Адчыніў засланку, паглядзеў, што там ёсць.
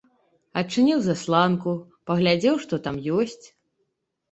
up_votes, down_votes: 2, 0